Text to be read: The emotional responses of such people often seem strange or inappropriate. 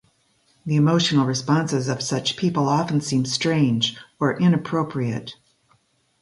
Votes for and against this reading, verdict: 2, 0, accepted